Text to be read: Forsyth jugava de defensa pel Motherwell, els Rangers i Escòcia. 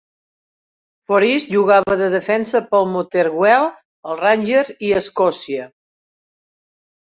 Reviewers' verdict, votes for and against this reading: rejected, 0, 3